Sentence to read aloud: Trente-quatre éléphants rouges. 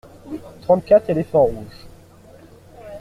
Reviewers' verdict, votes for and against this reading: accepted, 2, 0